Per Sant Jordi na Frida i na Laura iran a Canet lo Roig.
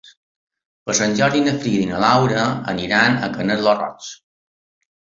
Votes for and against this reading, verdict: 0, 3, rejected